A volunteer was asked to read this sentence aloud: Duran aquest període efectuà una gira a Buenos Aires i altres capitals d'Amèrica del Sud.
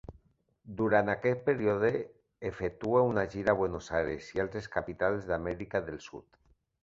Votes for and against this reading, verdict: 0, 2, rejected